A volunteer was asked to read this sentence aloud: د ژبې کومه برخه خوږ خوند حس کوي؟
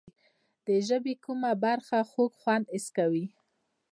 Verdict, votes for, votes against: rejected, 1, 2